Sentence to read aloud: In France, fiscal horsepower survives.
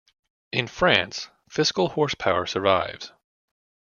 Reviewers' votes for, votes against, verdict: 2, 0, accepted